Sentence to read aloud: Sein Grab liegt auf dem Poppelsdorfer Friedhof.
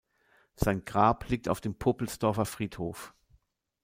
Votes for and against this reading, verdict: 0, 2, rejected